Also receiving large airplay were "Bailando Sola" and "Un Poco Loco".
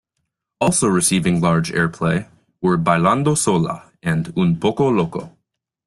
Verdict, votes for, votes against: accepted, 2, 0